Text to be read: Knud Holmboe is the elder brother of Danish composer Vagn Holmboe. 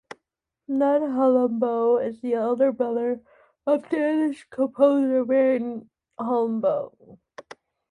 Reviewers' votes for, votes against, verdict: 0, 2, rejected